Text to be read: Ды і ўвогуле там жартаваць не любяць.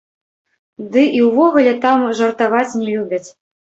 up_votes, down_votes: 0, 2